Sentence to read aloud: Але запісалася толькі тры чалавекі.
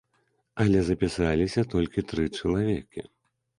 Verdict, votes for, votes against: rejected, 0, 2